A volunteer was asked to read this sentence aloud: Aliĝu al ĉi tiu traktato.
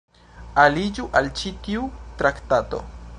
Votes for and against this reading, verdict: 2, 0, accepted